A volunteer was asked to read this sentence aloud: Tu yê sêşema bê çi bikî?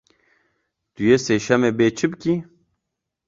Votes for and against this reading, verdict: 0, 2, rejected